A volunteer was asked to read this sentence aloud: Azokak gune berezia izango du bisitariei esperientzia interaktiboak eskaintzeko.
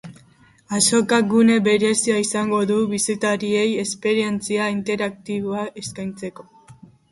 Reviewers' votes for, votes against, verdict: 2, 0, accepted